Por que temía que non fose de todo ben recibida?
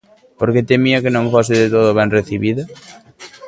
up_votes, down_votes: 1, 2